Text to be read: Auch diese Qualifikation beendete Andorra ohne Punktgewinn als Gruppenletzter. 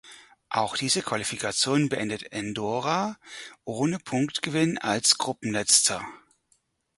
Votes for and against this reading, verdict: 0, 4, rejected